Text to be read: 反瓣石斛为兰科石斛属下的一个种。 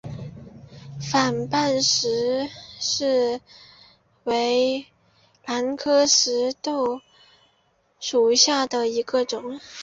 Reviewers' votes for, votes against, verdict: 0, 2, rejected